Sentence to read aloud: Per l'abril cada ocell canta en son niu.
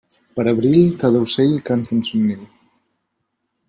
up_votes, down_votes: 1, 2